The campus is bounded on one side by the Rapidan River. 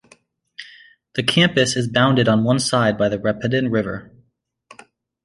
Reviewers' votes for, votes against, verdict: 2, 0, accepted